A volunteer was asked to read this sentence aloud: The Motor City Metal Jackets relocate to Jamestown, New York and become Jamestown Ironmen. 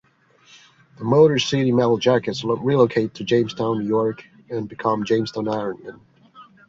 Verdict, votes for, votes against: rejected, 1, 2